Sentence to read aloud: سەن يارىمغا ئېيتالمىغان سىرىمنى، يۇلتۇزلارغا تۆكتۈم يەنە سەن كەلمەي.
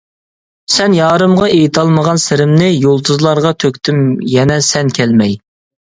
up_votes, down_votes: 2, 0